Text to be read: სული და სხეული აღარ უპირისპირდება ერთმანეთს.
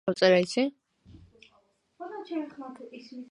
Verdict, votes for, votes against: rejected, 1, 3